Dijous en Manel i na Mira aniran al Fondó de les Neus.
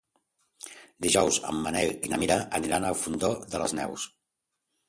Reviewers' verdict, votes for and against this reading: accepted, 2, 0